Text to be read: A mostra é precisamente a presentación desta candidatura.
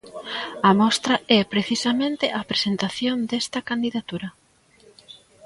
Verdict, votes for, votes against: rejected, 1, 2